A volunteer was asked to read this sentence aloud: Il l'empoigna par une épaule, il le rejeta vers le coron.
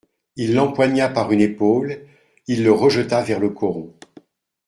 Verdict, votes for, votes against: accepted, 2, 0